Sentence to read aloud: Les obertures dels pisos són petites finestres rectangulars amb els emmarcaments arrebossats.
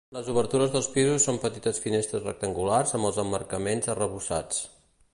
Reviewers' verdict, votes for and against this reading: accepted, 2, 0